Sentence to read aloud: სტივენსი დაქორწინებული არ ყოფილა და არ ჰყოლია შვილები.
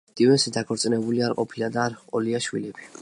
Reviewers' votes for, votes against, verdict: 2, 0, accepted